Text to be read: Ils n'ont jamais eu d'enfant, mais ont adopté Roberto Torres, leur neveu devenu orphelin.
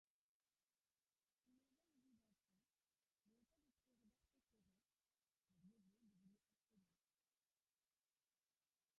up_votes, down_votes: 0, 2